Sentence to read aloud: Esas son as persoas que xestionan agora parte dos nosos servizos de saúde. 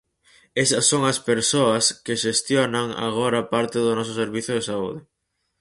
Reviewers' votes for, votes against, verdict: 0, 4, rejected